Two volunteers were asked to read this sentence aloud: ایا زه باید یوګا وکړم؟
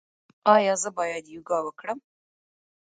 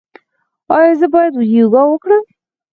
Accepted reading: first